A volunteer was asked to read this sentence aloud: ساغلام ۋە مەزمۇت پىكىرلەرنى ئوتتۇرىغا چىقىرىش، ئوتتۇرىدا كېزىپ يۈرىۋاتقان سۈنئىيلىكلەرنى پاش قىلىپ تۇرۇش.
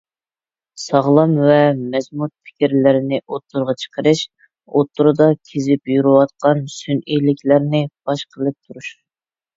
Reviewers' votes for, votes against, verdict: 2, 0, accepted